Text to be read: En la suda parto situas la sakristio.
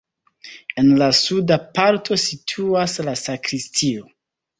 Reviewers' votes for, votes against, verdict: 2, 0, accepted